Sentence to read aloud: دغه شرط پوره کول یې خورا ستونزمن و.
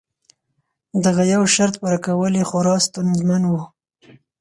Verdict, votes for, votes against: rejected, 2, 4